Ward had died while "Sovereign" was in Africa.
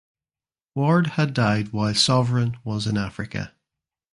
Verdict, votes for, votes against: accepted, 2, 0